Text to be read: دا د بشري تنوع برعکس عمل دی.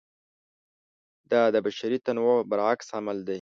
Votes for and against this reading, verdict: 2, 0, accepted